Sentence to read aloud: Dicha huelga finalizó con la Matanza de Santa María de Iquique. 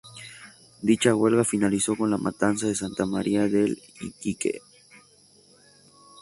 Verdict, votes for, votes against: rejected, 0, 2